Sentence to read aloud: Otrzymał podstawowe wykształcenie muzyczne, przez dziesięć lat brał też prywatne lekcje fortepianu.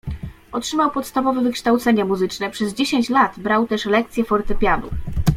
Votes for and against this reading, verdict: 1, 2, rejected